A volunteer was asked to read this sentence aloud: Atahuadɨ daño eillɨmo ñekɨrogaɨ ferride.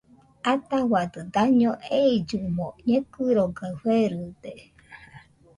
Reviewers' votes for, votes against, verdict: 0, 2, rejected